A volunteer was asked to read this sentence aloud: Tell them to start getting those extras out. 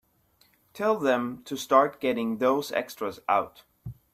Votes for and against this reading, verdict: 2, 0, accepted